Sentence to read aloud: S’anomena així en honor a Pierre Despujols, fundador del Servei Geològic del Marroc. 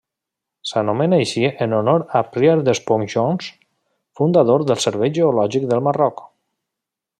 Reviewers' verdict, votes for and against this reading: rejected, 1, 2